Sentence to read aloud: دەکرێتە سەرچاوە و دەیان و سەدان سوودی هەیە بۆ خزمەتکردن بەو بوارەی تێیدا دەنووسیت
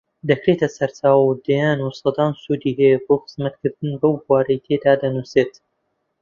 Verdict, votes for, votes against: rejected, 0, 2